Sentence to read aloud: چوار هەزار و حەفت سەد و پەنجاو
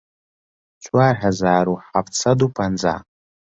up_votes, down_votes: 4, 1